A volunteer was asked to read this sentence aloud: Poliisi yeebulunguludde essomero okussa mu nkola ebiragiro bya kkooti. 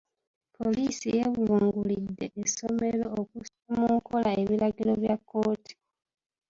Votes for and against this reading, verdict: 0, 2, rejected